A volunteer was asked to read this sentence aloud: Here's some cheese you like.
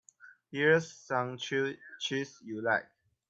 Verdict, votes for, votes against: accepted, 2, 0